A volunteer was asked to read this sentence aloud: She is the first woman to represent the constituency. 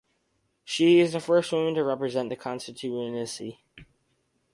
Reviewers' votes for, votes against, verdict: 2, 2, rejected